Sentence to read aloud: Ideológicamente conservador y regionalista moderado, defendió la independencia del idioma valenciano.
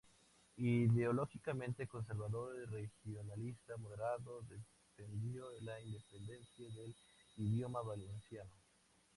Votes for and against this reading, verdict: 2, 0, accepted